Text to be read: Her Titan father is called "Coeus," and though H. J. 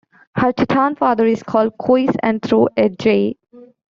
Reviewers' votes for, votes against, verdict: 0, 2, rejected